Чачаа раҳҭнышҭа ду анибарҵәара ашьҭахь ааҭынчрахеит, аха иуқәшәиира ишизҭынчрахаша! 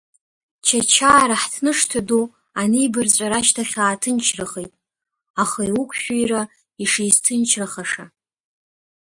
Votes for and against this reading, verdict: 0, 2, rejected